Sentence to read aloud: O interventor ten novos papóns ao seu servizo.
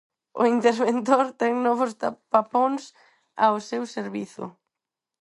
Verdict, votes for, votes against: rejected, 0, 4